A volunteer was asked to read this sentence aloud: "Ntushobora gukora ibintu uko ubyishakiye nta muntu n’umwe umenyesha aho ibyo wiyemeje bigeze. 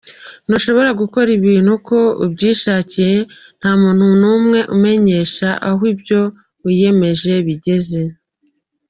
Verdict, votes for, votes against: rejected, 1, 3